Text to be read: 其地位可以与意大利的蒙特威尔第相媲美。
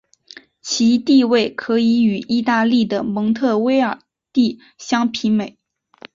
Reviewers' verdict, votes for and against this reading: accepted, 2, 1